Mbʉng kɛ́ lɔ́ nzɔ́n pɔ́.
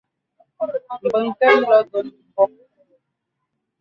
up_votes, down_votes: 1, 2